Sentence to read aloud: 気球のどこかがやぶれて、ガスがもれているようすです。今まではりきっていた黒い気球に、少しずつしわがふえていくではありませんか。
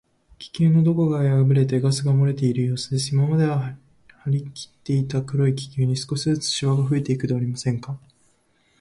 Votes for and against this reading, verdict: 1, 2, rejected